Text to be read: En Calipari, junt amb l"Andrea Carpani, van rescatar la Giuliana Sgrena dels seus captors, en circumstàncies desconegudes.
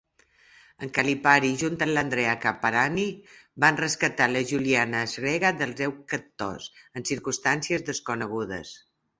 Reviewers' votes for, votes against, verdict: 0, 2, rejected